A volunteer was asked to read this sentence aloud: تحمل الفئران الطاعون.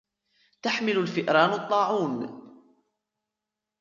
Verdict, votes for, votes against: rejected, 0, 2